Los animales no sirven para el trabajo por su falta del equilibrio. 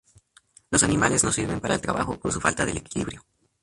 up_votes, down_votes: 0, 2